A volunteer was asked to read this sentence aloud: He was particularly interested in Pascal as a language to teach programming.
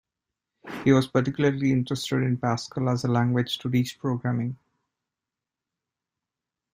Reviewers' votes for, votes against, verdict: 2, 0, accepted